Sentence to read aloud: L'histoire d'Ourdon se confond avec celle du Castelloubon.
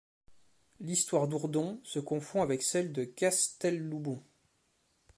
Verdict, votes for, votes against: rejected, 1, 2